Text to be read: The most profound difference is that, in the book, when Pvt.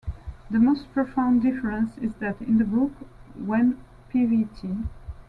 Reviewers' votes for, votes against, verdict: 2, 0, accepted